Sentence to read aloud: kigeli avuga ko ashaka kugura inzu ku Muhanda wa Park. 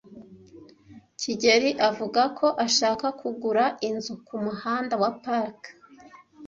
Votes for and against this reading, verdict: 2, 0, accepted